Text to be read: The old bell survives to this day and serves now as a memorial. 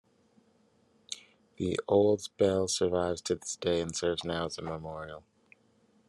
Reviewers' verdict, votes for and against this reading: accepted, 2, 1